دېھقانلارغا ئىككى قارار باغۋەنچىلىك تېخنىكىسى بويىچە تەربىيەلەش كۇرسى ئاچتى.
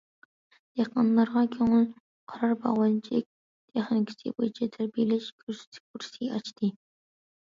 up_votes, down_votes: 0, 2